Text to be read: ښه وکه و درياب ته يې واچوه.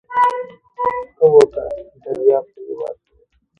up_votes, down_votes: 0, 2